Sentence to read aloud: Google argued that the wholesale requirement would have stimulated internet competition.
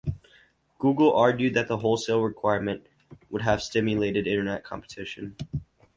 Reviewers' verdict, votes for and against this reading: accepted, 4, 0